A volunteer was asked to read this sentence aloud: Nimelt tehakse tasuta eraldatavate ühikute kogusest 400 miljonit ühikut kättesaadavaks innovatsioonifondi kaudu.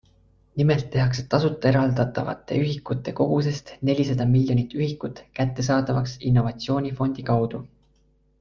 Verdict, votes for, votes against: rejected, 0, 2